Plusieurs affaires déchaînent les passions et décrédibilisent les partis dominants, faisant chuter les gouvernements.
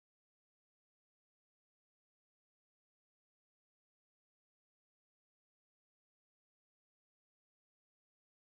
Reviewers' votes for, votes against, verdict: 0, 2, rejected